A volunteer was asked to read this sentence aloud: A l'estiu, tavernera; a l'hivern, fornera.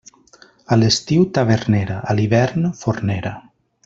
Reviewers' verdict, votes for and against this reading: accepted, 3, 0